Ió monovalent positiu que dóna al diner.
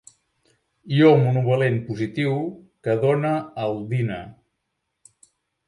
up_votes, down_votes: 1, 2